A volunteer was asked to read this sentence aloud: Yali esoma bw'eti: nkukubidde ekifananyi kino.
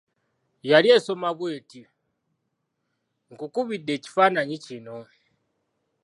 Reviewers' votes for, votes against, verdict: 2, 0, accepted